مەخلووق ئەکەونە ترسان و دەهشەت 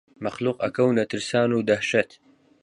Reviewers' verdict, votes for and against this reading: accepted, 4, 0